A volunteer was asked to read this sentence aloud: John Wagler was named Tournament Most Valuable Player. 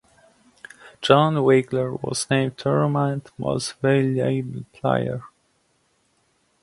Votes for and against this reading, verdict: 0, 2, rejected